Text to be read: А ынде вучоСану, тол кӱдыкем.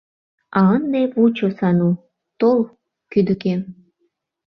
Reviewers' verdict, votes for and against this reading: rejected, 0, 2